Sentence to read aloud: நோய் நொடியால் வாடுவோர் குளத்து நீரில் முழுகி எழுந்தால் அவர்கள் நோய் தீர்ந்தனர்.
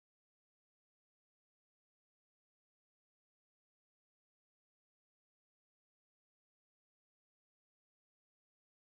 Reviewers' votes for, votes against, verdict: 0, 2, rejected